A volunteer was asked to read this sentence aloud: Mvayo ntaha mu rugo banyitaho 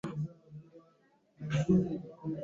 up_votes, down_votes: 1, 2